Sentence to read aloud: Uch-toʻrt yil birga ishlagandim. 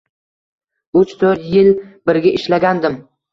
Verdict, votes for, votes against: accepted, 2, 0